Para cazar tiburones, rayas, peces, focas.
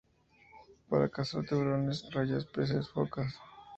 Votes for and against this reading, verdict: 2, 0, accepted